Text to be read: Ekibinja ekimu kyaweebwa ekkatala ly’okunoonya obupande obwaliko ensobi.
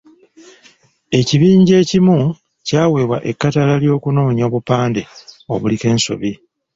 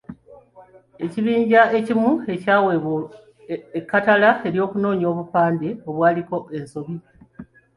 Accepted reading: second